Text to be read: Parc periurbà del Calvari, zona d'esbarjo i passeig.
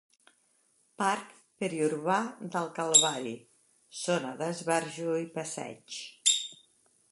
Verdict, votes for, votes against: accepted, 3, 0